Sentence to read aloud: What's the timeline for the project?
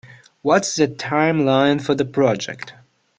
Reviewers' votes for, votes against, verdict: 2, 1, accepted